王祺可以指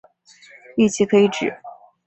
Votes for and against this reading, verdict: 2, 0, accepted